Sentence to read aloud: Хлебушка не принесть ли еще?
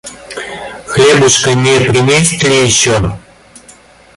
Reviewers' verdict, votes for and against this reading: rejected, 1, 2